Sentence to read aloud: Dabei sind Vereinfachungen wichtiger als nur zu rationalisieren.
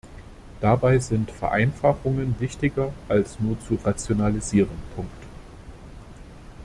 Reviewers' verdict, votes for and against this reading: rejected, 0, 2